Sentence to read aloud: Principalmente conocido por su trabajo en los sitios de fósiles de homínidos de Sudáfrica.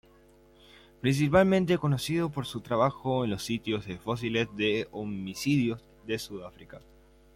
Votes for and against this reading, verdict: 0, 2, rejected